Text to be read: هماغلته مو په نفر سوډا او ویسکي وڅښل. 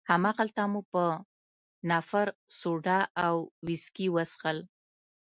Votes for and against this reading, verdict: 2, 0, accepted